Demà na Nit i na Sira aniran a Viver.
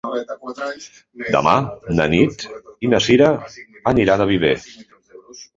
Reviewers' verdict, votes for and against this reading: rejected, 0, 2